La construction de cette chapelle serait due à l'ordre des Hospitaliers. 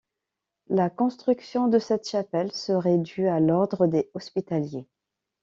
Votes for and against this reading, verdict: 2, 0, accepted